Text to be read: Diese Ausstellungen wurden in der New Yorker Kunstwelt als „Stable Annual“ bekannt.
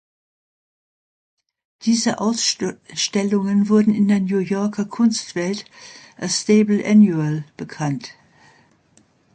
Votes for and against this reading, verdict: 0, 2, rejected